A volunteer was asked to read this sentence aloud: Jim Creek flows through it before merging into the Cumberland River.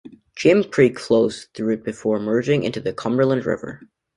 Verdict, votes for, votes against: accepted, 2, 0